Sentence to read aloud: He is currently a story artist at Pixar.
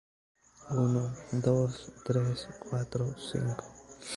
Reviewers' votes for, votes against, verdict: 1, 2, rejected